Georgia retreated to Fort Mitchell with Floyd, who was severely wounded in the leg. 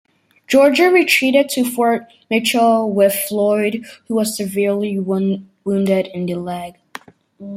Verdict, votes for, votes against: rejected, 1, 2